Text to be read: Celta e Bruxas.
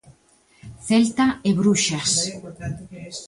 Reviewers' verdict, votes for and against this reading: accepted, 2, 0